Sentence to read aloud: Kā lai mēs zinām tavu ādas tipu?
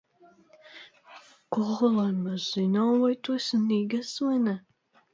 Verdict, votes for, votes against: rejected, 0, 2